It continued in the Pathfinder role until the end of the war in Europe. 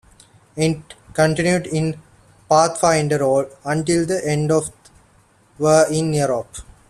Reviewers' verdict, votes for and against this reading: rejected, 1, 2